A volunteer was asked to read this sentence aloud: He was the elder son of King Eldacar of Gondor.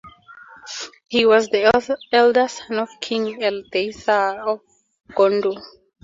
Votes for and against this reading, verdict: 0, 2, rejected